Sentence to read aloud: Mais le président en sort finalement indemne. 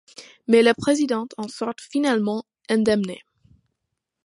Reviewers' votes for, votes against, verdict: 1, 2, rejected